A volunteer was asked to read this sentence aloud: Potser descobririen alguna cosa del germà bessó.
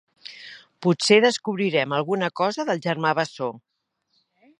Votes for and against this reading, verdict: 0, 2, rejected